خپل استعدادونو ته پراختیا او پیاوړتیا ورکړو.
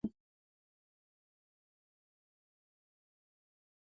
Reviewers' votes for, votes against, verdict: 1, 2, rejected